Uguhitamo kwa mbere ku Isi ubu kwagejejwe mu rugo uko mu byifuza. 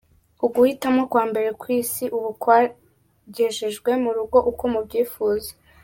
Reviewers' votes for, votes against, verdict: 0, 2, rejected